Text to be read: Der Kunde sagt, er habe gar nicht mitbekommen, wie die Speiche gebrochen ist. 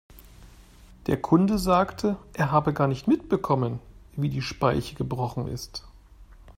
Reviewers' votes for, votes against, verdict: 0, 3, rejected